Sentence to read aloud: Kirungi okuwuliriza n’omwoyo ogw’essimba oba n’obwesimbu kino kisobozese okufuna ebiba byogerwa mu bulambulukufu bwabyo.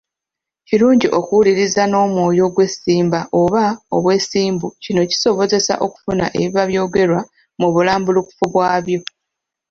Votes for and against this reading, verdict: 0, 2, rejected